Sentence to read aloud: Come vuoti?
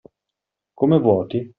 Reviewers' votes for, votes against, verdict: 2, 0, accepted